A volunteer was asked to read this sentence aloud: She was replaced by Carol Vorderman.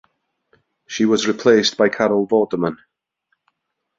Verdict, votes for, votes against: accepted, 2, 0